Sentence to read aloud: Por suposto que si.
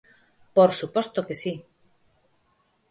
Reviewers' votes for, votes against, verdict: 4, 0, accepted